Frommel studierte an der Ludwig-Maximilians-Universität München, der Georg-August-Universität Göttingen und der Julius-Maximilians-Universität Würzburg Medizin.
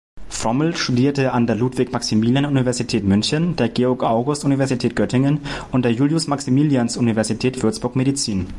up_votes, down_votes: 0, 2